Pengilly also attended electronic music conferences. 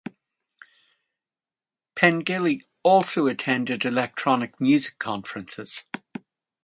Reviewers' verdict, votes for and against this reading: accepted, 2, 0